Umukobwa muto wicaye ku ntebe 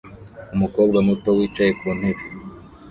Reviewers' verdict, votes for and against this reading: rejected, 1, 2